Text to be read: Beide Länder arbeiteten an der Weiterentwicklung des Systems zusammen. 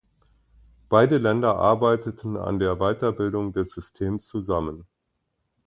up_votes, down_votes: 0, 2